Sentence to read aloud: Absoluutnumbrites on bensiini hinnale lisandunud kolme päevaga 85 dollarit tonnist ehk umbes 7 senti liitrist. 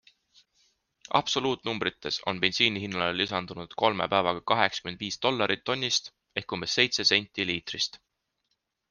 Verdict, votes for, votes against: rejected, 0, 2